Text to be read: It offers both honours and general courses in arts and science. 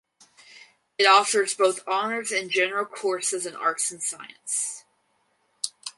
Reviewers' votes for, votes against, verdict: 4, 0, accepted